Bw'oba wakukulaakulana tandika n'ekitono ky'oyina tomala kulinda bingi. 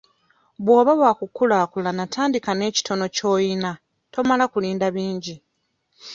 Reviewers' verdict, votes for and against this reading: accepted, 2, 0